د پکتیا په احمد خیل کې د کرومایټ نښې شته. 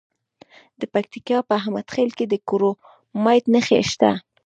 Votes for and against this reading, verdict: 2, 0, accepted